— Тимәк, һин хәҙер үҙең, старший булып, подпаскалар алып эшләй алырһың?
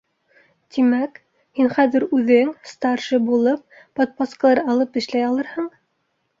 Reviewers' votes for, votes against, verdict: 2, 0, accepted